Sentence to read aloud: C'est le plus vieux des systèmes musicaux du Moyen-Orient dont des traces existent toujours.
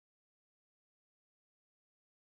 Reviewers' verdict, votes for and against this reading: rejected, 0, 2